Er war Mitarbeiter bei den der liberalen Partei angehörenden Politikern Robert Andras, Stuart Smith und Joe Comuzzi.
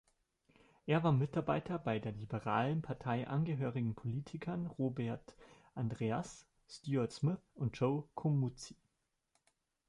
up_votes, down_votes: 0, 2